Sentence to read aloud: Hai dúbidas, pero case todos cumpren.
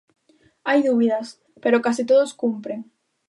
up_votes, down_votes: 2, 0